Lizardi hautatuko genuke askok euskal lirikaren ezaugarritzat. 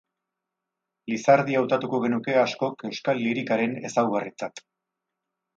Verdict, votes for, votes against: accepted, 4, 0